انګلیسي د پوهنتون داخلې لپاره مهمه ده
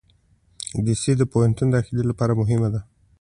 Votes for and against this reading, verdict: 2, 0, accepted